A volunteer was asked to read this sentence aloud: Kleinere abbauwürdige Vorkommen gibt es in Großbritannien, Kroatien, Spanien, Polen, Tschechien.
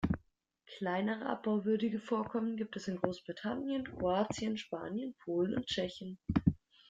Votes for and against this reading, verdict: 1, 2, rejected